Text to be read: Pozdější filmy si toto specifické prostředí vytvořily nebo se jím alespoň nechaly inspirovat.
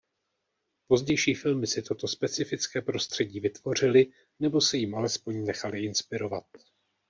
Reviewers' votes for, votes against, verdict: 2, 0, accepted